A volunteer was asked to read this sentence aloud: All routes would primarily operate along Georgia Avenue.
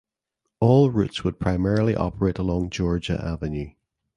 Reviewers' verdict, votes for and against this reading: accepted, 2, 0